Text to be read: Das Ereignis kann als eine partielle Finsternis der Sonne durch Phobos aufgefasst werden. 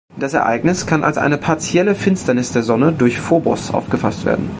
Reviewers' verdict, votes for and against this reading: accepted, 2, 0